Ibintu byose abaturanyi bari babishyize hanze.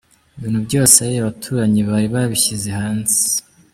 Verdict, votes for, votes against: accepted, 2, 0